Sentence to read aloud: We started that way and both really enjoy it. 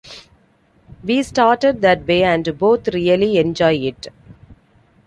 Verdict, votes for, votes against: accepted, 2, 0